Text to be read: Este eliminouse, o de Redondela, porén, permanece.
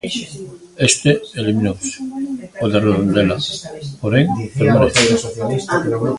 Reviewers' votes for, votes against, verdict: 0, 2, rejected